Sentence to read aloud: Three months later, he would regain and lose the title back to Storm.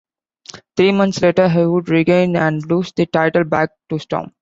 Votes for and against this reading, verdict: 2, 0, accepted